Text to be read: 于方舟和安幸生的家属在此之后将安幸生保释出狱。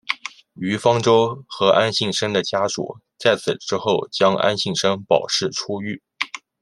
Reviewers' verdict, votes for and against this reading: accepted, 2, 0